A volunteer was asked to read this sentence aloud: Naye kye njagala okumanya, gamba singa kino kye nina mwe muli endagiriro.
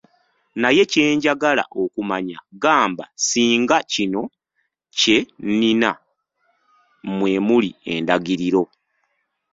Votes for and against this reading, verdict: 1, 2, rejected